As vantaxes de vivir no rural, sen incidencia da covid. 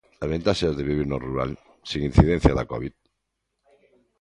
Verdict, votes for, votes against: rejected, 1, 2